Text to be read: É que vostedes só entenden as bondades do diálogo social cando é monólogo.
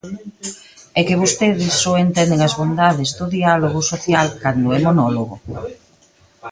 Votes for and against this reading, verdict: 2, 0, accepted